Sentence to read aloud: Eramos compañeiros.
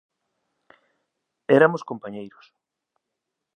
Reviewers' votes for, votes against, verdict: 0, 2, rejected